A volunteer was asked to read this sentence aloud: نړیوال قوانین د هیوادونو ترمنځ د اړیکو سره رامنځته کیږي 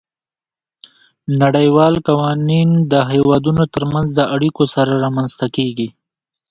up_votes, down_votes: 1, 2